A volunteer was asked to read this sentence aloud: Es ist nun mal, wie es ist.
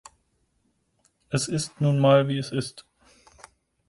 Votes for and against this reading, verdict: 4, 0, accepted